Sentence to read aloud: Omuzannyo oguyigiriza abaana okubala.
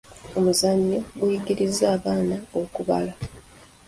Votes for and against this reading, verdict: 2, 0, accepted